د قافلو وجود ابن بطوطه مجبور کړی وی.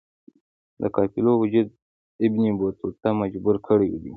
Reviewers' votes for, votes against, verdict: 2, 0, accepted